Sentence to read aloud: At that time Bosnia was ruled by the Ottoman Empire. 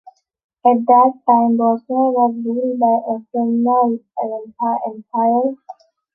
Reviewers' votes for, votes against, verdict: 0, 2, rejected